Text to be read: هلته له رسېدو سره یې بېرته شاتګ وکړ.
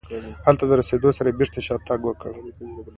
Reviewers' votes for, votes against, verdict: 2, 0, accepted